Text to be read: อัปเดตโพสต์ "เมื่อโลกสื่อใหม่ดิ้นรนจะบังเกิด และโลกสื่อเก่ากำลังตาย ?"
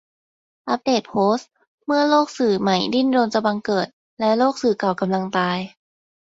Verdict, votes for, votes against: accepted, 2, 0